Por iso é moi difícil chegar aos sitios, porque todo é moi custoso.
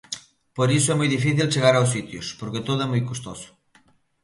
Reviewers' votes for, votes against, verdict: 2, 0, accepted